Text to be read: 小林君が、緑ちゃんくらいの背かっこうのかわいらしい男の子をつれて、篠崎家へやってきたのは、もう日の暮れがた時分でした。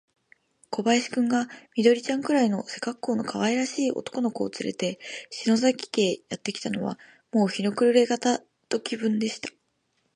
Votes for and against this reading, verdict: 2, 1, accepted